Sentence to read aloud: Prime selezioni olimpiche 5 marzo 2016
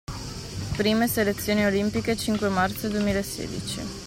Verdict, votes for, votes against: rejected, 0, 2